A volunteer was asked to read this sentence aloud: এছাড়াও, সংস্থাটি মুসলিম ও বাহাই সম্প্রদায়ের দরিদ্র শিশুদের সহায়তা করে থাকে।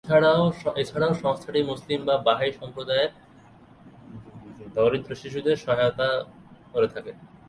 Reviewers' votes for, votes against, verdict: 0, 4, rejected